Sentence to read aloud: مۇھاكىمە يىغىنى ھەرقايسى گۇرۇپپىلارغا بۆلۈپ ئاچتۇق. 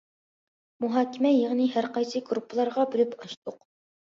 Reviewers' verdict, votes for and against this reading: accepted, 2, 0